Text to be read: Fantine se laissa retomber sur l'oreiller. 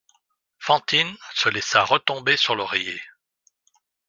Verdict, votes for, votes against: accepted, 2, 1